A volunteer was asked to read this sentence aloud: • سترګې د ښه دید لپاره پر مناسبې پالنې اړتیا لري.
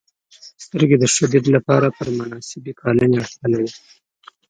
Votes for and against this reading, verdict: 1, 2, rejected